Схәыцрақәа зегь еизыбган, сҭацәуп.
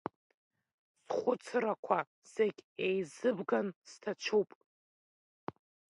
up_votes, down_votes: 2, 0